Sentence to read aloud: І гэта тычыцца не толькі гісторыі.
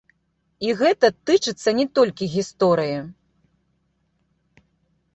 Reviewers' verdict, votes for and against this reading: rejected, 1, 2